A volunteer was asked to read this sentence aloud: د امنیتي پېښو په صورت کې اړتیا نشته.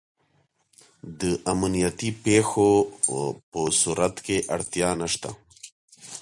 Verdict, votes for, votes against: accepted, 2, 0